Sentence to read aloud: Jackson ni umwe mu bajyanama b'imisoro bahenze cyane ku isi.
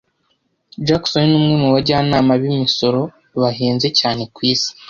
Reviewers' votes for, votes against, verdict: 2, 0, accepted